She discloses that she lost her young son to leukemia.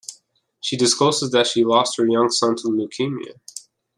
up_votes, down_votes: 2, 0